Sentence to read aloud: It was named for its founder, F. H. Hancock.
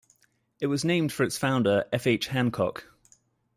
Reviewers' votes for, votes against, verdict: 2, 0, accepted